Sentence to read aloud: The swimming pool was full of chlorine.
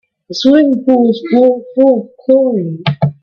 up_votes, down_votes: 0, 2